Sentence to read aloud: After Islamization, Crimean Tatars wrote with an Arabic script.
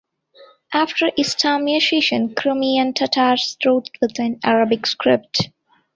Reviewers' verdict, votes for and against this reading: rejected, 1, 2